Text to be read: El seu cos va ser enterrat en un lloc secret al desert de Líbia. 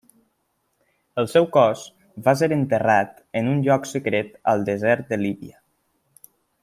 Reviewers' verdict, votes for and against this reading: accepted, 3, 0